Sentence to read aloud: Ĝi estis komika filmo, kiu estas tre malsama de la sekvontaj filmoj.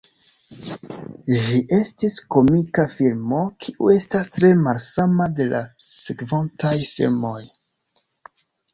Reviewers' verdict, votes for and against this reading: accepted, 2, 0